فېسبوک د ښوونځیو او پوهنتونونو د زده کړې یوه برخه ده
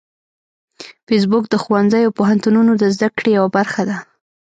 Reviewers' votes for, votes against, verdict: 0, 2, rejected